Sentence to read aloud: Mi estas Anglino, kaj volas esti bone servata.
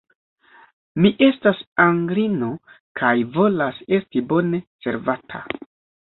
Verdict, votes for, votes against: rejected, 1, 2